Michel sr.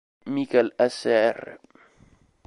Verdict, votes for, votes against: rejected, 1, 3